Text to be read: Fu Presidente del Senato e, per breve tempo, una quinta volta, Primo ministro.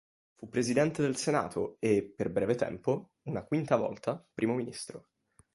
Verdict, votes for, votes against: accepted, 3, 1